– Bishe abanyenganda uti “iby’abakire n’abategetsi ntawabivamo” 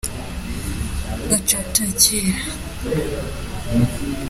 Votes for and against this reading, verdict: 0, 2, rejected